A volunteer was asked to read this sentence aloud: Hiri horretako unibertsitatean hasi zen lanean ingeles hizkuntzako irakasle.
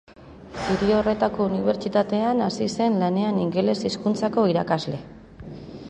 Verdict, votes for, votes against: accepted, 2, 1